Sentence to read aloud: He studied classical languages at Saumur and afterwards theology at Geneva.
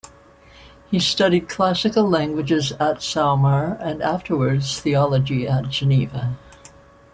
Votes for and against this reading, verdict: 2, 1, accepted